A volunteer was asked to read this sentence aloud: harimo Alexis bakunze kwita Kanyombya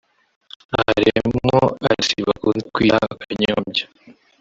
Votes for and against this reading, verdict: 0, 2, rejected